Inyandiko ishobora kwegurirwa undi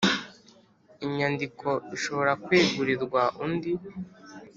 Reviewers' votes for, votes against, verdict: 1, 2, rejected